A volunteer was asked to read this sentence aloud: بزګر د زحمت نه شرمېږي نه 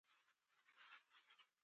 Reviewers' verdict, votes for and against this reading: rejected, 1, 2